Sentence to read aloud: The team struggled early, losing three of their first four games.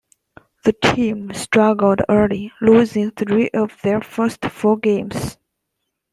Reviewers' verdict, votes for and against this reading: accepted, 2, 0